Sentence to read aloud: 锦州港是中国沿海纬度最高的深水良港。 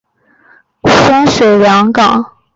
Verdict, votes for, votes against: rejected, 1, 3